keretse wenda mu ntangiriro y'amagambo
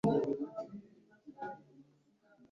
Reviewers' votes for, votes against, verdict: 2, 3, rejected